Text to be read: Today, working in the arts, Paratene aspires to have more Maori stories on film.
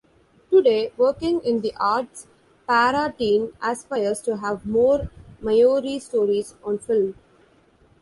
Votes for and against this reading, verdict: 0, 2, rejected